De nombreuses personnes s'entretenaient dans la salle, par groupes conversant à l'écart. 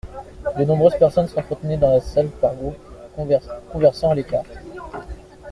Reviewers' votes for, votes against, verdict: 1, 2, rejected